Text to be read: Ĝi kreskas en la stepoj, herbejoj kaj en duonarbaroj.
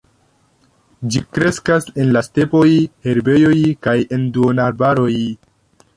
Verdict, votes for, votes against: accepted, 2, 1